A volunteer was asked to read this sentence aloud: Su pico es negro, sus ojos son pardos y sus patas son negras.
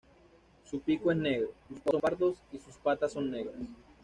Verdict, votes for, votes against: rejected, 0, 2